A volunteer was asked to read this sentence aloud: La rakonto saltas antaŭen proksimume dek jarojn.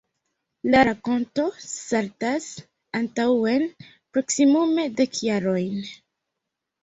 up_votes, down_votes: 1, 2